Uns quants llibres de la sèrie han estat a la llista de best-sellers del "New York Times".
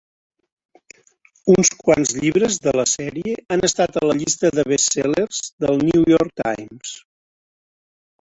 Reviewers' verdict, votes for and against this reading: rejected, 0, 2